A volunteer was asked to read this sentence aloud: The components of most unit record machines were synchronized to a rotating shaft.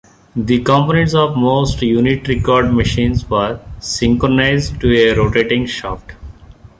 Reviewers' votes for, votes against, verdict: 2, 1, accepted